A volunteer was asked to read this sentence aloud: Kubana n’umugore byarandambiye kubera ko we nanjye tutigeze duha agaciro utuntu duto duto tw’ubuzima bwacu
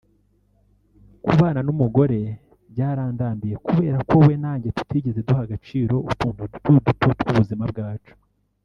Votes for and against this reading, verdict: 1, 2, rejected